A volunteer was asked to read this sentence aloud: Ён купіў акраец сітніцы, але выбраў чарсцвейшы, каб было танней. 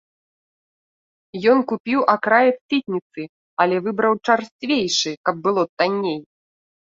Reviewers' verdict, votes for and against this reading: rejected, 1, 2